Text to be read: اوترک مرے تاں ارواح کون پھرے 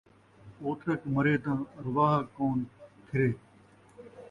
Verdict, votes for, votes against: accepted, 2, 0